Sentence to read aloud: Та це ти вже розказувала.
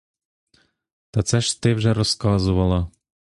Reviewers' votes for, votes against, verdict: 0, 2, rejected